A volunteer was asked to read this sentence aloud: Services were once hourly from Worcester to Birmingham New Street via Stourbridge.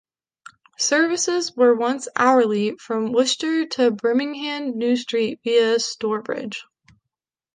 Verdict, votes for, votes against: accepted, 2, 0